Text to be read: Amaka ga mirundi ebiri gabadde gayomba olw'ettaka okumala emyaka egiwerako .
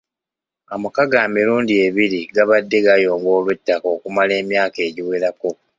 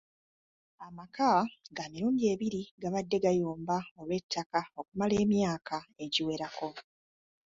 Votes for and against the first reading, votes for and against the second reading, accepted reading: 1, 2, 2, 0, second